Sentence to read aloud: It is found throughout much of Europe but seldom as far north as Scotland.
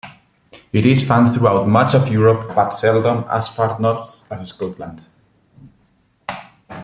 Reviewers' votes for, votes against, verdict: 2, 1, accepted